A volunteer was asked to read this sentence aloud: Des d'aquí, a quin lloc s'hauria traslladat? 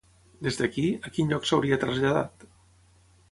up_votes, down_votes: 6, 0